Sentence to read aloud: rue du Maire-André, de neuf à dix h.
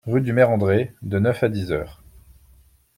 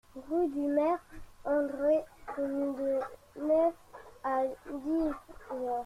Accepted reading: first